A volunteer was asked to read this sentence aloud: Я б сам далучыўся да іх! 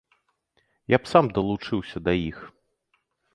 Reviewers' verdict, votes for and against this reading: accepted, 2, 0